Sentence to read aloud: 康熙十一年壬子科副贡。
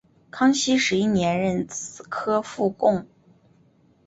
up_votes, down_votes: 2, 0